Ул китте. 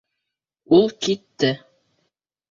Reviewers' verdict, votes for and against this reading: accepted, 2, 0